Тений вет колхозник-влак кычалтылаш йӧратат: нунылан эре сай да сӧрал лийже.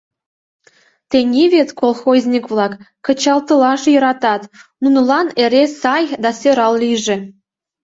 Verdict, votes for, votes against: accepted, 2, 0